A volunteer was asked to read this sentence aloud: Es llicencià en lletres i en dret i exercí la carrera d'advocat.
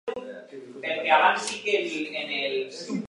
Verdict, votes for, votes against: rejected, 0, 2